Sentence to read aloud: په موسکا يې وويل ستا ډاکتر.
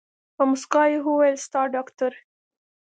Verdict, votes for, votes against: accepted, 2, 0